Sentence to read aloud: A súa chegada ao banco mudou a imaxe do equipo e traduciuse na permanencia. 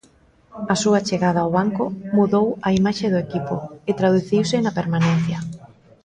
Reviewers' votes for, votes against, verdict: 1, 2, rejected